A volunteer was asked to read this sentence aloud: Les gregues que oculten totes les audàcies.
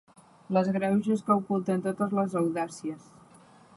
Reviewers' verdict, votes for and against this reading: rejected, 1, 2